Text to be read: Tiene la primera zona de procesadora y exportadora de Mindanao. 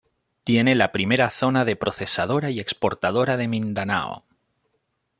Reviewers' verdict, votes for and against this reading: accepted, 2, 0